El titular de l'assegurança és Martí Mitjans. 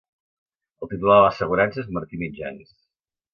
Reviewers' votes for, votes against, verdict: 1, 2, rejected